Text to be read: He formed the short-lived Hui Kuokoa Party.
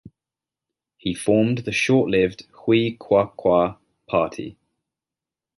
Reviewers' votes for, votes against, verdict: 1, 2, rejected